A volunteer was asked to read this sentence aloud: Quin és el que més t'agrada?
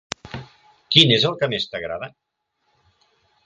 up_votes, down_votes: 5, 0